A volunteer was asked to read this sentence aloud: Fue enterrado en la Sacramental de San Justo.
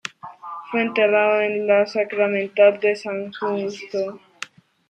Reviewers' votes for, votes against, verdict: 1, 2, rejected